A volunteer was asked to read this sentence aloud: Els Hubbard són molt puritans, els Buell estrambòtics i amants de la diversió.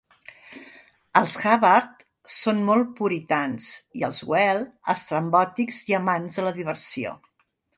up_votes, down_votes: 0, 2